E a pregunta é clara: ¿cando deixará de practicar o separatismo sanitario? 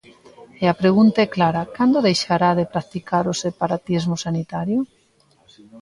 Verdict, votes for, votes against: accepted, 2, 0